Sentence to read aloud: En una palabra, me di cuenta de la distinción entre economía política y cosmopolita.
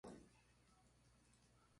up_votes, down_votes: 0, 2